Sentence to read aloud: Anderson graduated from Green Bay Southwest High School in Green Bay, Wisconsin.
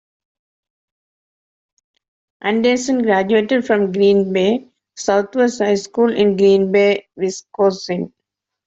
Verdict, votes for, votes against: accepted, 3, 1